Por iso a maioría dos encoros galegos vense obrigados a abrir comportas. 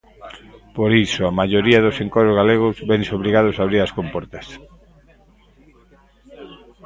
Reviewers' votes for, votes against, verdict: 0, 2, rejected